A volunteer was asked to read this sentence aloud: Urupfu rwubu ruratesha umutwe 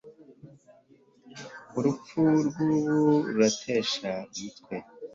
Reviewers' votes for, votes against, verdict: 2, 0, accepted